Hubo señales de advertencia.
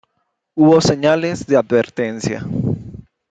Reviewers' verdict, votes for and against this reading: rejected, 1, 2